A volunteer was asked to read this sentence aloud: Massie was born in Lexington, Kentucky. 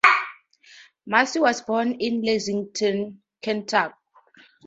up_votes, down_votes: 2, 0